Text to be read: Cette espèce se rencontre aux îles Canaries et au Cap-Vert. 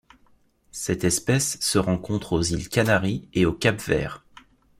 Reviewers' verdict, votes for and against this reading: accepted, 2, 0